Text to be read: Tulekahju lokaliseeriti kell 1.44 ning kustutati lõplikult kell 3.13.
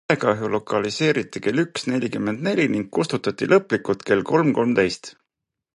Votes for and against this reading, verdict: 0, 2, rejected